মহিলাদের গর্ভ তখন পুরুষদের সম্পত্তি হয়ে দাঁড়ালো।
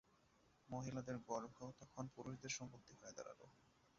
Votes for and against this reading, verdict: 1, 2, rejected